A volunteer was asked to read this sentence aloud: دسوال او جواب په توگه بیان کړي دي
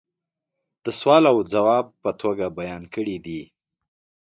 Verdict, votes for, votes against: accepted, 2, 0